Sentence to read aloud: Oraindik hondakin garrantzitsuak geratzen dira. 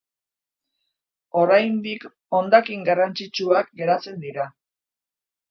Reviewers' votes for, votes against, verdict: 2, 0, accepted